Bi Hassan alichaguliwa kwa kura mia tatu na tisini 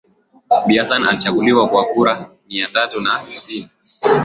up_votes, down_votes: 1, 2